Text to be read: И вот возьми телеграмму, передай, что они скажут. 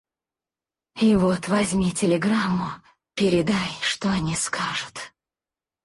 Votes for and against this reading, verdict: 2, 4, rejected